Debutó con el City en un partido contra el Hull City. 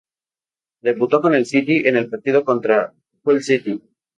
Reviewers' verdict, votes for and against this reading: rejected, 2, 2